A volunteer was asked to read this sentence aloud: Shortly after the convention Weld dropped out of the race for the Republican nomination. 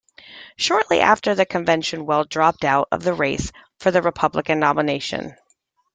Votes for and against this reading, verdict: 2, 1, accepted